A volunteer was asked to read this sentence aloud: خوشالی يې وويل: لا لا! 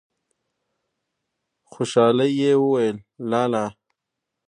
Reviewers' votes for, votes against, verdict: 0, 2, rejected